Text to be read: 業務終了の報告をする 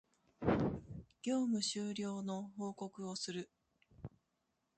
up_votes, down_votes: 0, 2